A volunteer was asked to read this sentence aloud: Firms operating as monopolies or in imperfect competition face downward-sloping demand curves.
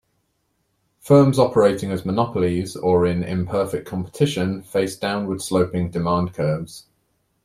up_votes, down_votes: 2, 0